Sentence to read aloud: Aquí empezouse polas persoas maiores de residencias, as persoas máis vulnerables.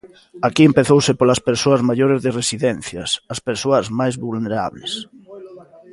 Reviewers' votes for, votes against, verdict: 0, 2, rejected